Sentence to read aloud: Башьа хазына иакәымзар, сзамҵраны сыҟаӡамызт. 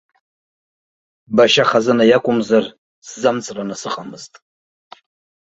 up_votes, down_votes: 2, 0